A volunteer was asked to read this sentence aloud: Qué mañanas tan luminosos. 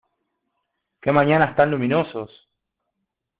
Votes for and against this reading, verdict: 2, 0, accepted